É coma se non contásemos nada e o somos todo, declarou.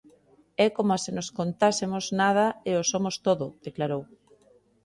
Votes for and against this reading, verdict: 2, 4, rejected